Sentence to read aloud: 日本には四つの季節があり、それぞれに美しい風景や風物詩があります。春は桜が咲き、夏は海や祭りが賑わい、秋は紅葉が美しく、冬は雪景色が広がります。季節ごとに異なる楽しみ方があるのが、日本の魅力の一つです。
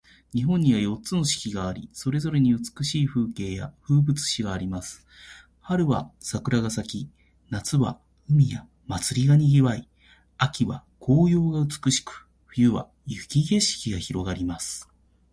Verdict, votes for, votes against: accepted, 3, 0